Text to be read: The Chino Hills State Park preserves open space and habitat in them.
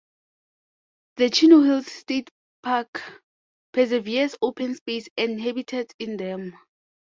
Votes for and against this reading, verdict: 0, 2, rejected